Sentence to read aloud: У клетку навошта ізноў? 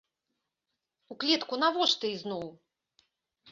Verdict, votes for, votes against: accepted, 2, 0